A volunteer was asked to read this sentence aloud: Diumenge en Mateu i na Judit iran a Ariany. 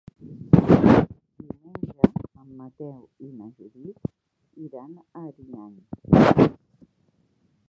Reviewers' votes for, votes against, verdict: 1, 2, rejected